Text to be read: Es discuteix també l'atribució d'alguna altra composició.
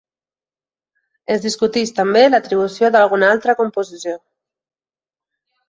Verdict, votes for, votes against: accepted, 3, 0